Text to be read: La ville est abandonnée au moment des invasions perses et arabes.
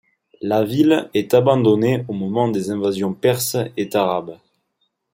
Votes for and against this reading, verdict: 2, 0, accepted